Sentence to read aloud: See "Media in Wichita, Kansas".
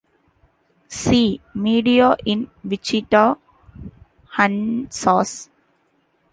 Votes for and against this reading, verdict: 1, 2, rejected